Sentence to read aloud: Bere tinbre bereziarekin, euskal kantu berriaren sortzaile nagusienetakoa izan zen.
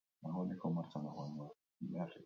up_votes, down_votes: 0, 4